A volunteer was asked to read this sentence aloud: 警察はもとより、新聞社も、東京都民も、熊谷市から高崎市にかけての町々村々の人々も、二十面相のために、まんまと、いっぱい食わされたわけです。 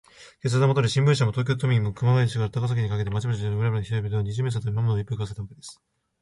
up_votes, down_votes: 0, 2